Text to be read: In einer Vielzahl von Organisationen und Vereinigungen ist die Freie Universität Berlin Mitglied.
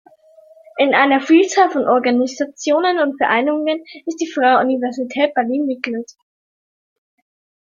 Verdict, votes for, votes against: rejected, 1, 2